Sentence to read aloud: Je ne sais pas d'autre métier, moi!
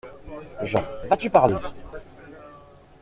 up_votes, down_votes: 0, 2